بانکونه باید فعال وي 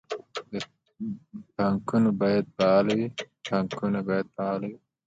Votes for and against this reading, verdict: 2, 1, accepted